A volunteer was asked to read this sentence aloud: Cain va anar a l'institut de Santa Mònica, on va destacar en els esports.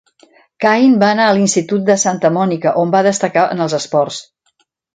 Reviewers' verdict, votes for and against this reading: accepted, 2, 0